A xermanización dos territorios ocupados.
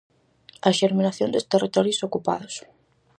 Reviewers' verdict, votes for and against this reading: rejected, 0, 4